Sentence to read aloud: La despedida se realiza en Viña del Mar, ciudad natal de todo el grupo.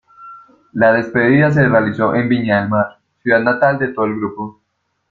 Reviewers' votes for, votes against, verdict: 1, 2, rejected